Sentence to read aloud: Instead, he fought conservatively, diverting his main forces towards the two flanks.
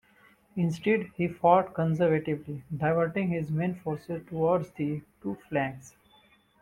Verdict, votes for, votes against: accepted, 2, 0